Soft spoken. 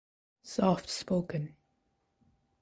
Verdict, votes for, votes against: accepted, 2, 0